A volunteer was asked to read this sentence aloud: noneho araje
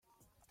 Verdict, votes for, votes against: rejected, 0, 2